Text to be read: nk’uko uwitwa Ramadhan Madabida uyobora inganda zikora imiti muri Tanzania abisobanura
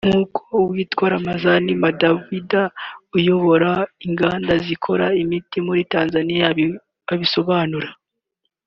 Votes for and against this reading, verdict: 1, 2, rejected